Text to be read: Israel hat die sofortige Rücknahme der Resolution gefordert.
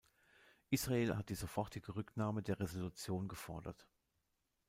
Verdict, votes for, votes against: accepted, 2, 0